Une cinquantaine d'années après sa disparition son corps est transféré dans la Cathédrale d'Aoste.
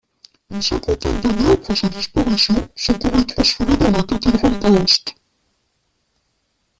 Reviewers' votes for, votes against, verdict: 1, 2, rejected